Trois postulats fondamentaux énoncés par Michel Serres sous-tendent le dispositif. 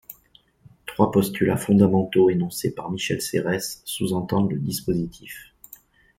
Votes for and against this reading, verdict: 0, 2, rejected